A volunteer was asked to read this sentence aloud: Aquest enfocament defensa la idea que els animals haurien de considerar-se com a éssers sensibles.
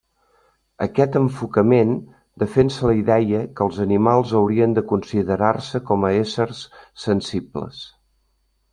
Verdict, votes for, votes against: rejected, 1, 2